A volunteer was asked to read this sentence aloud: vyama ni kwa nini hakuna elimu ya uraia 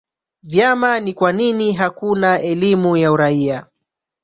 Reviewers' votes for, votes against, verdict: 1, 2, rejected